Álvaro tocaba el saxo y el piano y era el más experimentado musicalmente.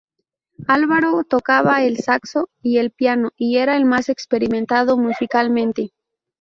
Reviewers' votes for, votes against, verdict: 2, 0, accepted